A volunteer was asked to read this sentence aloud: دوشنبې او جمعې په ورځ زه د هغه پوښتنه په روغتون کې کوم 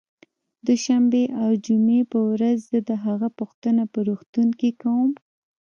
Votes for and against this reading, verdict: 1, 2, rejected